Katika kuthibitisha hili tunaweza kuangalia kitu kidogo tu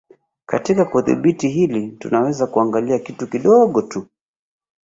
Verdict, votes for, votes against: rejected, 1, 2